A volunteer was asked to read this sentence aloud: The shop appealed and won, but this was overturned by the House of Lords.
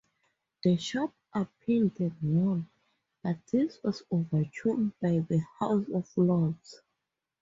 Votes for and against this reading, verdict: 4, 0, accepted